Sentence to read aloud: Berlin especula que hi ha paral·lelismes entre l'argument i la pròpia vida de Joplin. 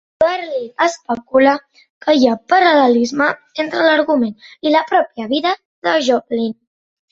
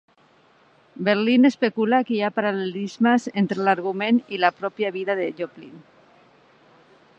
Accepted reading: second